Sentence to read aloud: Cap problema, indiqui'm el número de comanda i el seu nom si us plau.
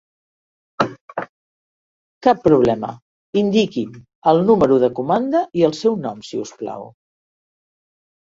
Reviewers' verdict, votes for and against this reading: rejected, 1, 2